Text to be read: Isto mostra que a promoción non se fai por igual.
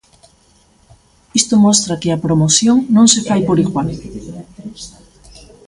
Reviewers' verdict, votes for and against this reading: accepted, 2, 0